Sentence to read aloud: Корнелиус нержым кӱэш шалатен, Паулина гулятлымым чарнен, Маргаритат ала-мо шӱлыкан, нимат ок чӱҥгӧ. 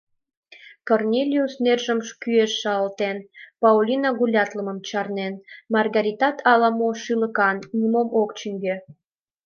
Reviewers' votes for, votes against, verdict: 1, 2, rejected